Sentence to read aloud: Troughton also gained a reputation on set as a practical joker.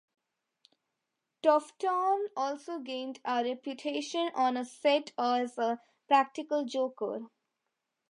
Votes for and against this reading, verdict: 4, 3, accepted